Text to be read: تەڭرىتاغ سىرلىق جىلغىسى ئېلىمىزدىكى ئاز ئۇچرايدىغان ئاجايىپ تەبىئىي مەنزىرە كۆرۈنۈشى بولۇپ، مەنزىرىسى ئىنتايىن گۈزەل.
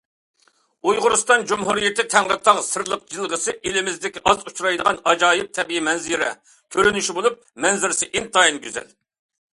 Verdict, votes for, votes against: rejected, 0, 2